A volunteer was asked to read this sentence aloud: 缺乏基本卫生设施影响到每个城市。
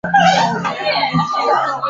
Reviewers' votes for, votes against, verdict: 0, 4, rejected